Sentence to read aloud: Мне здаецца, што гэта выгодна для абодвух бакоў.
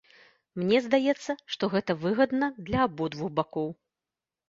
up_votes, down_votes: 1, 2